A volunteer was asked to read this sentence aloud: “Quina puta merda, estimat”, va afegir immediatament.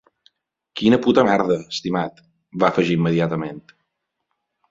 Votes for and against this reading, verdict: 4, 0, accepted